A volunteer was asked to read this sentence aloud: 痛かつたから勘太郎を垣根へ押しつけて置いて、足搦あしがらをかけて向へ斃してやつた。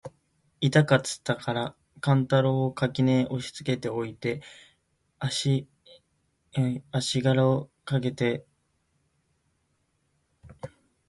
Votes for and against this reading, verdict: 0, 2, rejected